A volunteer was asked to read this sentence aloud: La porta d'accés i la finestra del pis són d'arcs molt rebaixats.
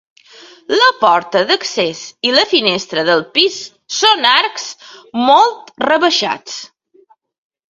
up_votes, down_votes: 1, 2